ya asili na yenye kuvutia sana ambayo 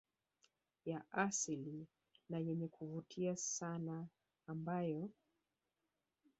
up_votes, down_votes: 1, 2